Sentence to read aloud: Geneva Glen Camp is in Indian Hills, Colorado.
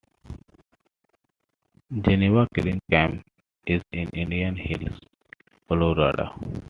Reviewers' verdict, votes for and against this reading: rejected, 1, 2